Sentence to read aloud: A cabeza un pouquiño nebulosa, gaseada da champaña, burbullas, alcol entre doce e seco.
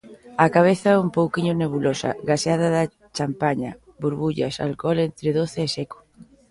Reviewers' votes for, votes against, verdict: 2, 0, accepted